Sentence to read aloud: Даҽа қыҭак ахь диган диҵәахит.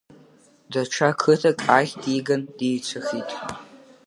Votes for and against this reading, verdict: 0, 2, rejected